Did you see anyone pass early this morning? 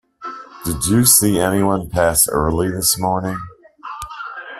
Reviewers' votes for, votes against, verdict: 2, 1, accepted